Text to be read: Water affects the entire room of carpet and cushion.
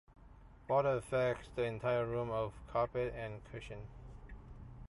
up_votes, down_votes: 2, 0